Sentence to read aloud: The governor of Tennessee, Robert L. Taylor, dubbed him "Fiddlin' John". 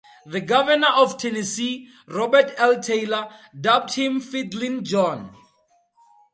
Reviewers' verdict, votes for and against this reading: accepted, 4, 0